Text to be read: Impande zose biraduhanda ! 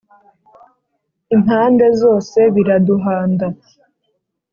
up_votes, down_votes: 3, 0